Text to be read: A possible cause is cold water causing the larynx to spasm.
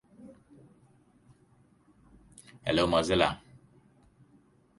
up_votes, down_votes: 0, 2